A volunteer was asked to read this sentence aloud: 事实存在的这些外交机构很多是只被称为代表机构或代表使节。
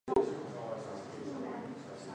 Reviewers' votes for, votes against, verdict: 0, 2, rejected